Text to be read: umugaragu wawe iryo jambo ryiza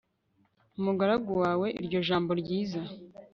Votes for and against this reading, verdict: 2, 0, accepted